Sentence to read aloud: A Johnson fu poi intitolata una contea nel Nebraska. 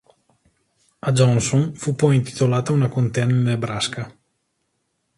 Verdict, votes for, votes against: accepted, 3, 1